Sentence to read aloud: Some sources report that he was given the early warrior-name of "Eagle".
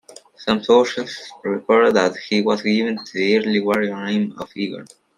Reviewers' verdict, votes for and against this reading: rejected, 0, 2